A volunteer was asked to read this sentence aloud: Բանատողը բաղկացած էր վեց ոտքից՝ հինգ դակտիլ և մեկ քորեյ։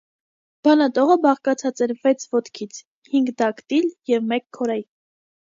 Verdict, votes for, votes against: accepted, 2, 0